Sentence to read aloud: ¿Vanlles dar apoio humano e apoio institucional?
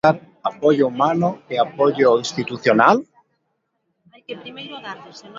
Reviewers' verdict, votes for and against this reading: rejected, 1, 2